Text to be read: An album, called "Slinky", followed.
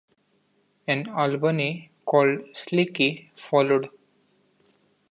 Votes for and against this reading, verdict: 0, 2, rejected